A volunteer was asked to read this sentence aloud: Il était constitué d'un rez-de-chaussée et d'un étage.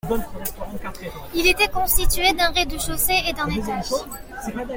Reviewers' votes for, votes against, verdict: 2, 0, accepted